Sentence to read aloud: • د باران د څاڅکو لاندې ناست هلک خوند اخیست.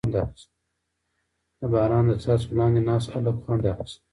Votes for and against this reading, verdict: 1, 2, rejected